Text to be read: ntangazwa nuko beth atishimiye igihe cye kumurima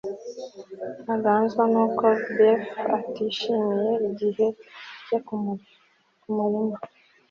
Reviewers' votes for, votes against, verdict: 1, 2, rejected